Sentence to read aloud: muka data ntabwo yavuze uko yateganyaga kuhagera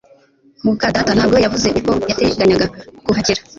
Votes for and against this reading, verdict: 2, 0, accepted